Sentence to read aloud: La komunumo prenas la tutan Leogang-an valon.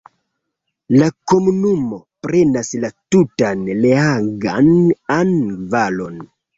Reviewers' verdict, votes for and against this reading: rejected, 0, 2